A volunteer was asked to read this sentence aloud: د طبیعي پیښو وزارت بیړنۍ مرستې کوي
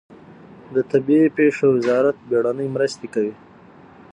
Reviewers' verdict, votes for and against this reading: rejected, 3, 6